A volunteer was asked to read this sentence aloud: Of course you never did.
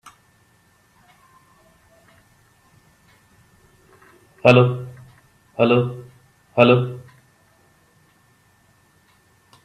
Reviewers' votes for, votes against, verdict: 0, 2, rejected